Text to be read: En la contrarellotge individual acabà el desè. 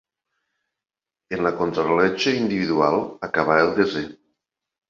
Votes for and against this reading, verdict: 2, 0, accepted